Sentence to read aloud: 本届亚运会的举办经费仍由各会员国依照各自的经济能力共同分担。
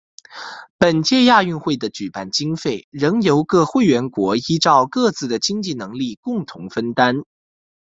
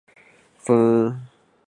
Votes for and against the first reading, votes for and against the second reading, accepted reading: 2, 0, 0, 2, first